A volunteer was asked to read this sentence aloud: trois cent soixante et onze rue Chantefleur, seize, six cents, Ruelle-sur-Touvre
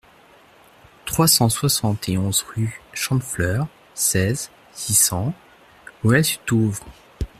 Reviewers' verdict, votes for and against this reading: rejected, 1, 2